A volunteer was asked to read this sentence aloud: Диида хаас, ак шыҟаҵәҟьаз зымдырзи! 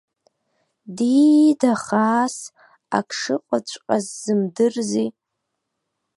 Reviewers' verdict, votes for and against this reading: accepted, 2, 0